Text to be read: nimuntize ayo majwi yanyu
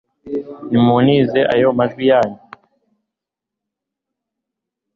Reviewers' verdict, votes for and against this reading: accepted, 2, 0